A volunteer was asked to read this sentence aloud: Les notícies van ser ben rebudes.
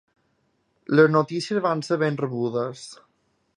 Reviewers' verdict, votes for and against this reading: accepted, 2, 1